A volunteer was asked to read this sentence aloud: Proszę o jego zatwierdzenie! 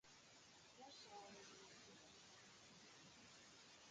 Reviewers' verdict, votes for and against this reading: rejected, 1, 2